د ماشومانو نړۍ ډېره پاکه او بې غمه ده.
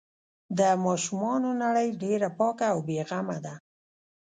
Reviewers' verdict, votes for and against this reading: rejected, 1, 2